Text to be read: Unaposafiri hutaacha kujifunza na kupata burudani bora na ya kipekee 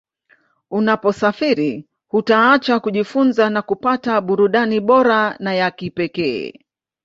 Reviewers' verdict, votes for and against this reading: accepted, 2, 1